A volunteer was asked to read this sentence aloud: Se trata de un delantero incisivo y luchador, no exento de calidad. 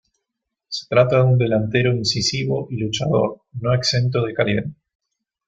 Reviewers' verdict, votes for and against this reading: accepted, 2, 0